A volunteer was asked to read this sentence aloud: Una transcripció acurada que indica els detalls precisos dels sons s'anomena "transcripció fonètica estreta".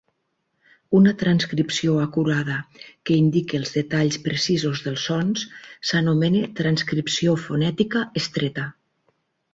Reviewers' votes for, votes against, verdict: 6, 2, accepted